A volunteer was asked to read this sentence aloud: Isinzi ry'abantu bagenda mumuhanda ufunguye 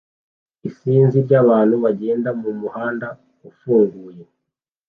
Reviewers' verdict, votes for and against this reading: accepted, 2, 0